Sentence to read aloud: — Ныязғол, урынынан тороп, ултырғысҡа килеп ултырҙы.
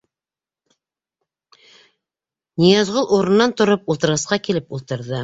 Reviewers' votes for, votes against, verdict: 2, 0, accepted